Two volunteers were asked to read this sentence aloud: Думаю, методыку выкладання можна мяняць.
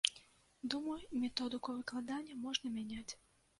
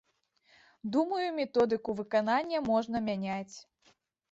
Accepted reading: first